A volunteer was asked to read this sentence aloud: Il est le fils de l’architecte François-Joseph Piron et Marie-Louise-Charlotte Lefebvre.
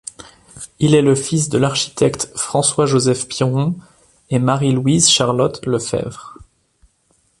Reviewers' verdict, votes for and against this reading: accepted, 2, 0